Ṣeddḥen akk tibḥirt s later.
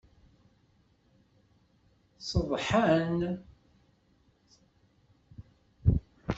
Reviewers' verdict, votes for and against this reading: rejected, 0, 2